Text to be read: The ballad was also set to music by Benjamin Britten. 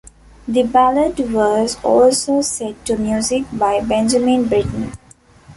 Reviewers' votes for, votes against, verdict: 2, 0, accepted